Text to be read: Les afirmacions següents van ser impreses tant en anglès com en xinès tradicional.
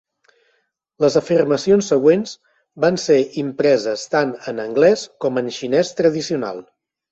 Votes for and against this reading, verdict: 4, 0, accepted